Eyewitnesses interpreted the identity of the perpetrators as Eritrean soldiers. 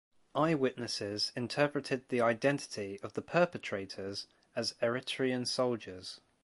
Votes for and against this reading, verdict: 4, 0, accepted